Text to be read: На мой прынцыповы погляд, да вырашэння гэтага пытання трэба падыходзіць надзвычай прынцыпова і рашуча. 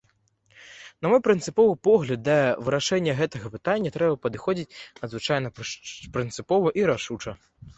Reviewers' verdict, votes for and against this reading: rejected, 1, 2